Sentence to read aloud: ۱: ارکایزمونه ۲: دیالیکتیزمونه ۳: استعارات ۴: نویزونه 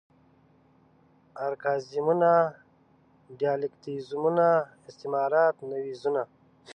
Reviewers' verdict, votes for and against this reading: rejected, 0, 2